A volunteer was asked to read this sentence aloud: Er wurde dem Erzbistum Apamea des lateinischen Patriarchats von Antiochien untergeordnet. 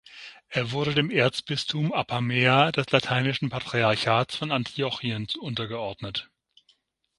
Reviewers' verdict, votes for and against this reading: rejected, 3, 9